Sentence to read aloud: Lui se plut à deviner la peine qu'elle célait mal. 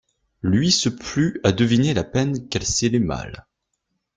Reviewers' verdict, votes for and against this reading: rejected, 1, 2